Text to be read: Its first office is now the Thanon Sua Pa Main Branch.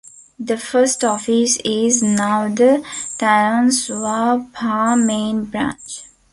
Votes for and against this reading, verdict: 1, 2, rejected